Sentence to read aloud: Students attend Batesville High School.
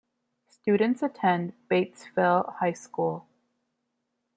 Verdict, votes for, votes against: accepted, 2, 0